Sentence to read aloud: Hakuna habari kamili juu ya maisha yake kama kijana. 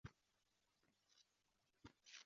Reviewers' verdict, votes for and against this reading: rejected, 0, 2